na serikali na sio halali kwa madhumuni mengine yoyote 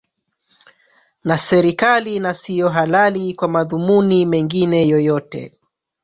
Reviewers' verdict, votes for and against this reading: rejected, 0, 3